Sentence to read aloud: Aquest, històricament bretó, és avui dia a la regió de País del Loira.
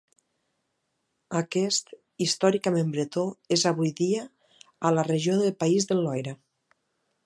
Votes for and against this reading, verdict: 3, 0, accepted